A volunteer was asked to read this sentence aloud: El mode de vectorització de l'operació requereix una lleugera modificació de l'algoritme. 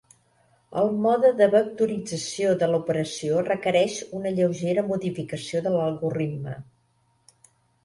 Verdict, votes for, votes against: rejected, 0, 2